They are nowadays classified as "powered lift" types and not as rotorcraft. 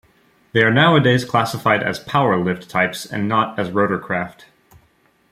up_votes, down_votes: 1, 2